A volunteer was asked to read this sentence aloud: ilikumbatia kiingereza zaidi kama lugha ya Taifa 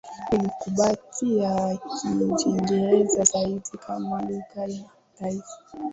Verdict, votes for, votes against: accepted, 2, 0